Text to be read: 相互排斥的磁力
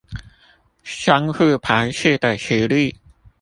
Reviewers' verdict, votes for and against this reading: rejected, 0, 2